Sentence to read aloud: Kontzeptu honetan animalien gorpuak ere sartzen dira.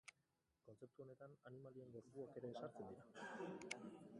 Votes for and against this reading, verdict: 0, 2, rejected